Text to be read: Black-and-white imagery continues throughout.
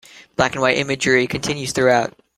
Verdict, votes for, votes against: accepted, 2, 0